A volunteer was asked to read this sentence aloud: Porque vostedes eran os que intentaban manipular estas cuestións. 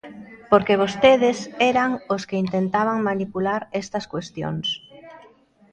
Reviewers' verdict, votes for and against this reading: rejected, 0, 2